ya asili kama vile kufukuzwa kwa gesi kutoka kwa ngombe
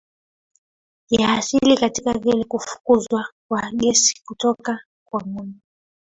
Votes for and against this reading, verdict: 0, 3, rejected